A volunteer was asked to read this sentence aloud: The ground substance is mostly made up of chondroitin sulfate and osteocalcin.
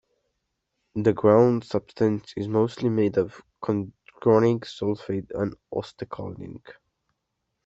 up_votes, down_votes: 0, 2